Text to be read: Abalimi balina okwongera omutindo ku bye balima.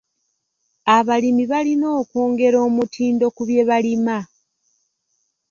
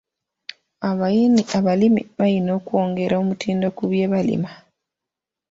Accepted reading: first